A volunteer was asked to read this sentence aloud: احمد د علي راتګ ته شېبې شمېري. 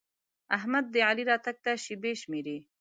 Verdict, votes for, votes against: accepted, 2, 0